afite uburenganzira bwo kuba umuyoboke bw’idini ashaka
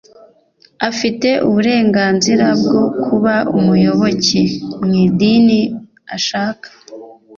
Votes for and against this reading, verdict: 1, 2, rejected